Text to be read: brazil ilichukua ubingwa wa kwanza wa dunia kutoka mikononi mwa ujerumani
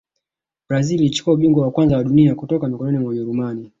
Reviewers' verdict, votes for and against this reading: accepted, 2, 0